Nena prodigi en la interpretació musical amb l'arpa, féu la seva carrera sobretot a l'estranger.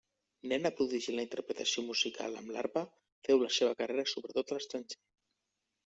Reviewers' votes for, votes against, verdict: 1, 2, rejected